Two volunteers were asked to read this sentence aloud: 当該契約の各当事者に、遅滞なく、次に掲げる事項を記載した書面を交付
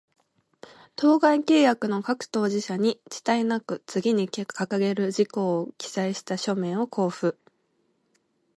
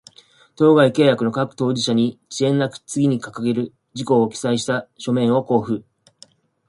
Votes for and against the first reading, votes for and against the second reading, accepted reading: 2, 0, 1, 2, first